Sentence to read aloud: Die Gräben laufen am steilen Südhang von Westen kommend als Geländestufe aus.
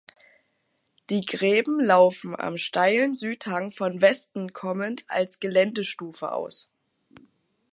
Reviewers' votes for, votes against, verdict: 2, 0, accepted